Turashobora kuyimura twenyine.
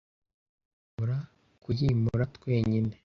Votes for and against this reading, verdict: 0, 2, rejected